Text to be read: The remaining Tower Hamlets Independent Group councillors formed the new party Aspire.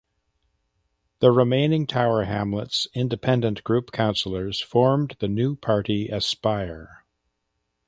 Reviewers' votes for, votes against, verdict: 2, 0, accepted